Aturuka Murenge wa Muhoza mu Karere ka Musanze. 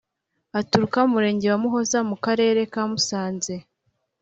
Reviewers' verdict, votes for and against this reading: accepted, 2, 0